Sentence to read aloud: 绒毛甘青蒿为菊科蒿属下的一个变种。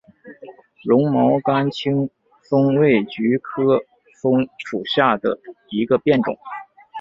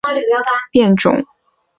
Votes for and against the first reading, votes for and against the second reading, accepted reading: 2, 0, 0, 3, first